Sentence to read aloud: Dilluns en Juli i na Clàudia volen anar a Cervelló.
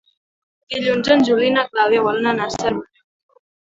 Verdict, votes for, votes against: rejected, 0, 3